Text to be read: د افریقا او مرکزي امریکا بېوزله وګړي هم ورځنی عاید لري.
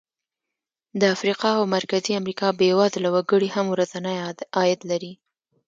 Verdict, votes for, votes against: accepted, 2, 0